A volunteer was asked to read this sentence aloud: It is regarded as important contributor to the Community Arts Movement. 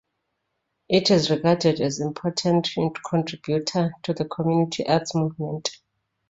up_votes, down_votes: 2, 1